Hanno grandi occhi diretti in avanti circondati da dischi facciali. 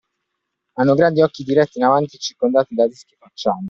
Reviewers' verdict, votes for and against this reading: rejected, 1, 2